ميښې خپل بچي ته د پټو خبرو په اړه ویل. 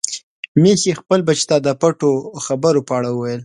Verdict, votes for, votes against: accepted, 2, 0